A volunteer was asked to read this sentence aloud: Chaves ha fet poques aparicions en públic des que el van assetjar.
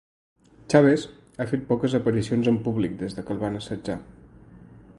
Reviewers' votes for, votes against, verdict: 0, 2, rejected